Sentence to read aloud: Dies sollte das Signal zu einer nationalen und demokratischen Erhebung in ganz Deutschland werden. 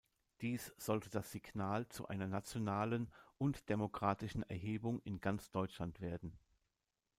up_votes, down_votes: 2, 0